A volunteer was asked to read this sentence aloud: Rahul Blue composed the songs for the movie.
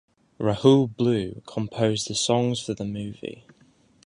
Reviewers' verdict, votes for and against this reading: accepted, 2, 0